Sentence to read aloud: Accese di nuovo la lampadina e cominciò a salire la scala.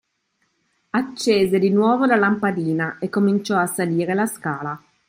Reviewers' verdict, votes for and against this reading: accepted, 3, 0